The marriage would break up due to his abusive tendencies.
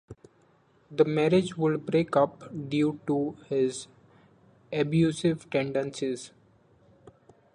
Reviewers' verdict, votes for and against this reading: accepted, 2, 1